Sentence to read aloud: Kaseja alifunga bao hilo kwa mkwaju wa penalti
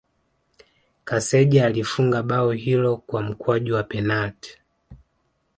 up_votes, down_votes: 2, 1